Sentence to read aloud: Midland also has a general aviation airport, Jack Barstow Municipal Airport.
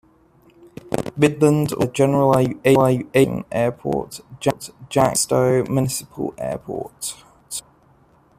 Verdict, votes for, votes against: rejected, 0, 2